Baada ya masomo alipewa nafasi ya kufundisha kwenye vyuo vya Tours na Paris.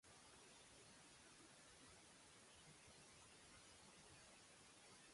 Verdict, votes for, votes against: rejected, 0, 2